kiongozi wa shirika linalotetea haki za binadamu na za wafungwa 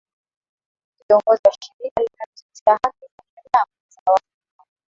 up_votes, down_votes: 0, 2